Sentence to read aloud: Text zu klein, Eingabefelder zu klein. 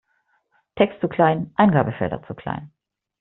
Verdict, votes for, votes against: accepted, 2, 1